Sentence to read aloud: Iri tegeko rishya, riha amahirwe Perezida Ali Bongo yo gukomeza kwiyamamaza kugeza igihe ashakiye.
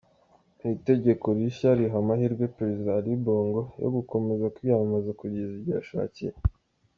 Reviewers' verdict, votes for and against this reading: rejected, 0, 2